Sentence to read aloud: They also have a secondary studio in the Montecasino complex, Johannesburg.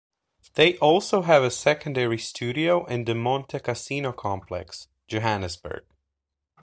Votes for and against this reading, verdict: 2, 0, accepted